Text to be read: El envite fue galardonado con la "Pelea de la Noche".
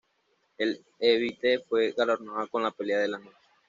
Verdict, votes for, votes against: rejected, 1, 2